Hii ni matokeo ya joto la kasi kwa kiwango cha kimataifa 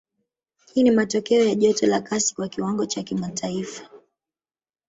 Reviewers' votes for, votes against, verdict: 1, 2, rejected